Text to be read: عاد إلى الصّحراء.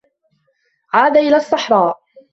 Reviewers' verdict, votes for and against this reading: accepted, 2, 0